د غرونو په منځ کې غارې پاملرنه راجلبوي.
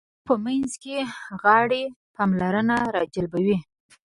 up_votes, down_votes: 2, 1